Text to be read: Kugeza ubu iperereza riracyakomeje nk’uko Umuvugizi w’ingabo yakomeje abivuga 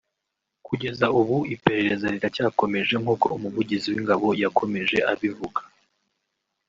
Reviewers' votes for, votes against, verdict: 0, 2, rejected